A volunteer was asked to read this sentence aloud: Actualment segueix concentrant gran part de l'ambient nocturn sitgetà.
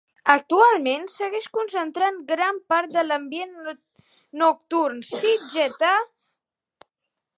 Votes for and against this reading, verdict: 0, 2, rejected